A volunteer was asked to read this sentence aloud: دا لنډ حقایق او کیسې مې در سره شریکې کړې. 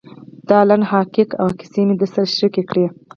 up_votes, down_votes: 2, 4